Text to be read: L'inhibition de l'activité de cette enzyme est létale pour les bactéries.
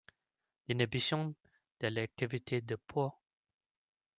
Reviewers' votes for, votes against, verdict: 0, 2, rejected